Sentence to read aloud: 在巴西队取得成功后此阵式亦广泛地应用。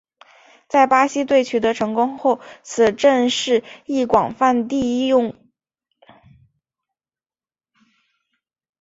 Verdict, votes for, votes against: accepted, 5, 1